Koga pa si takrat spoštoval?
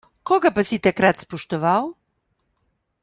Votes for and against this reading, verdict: 2, 0, accepted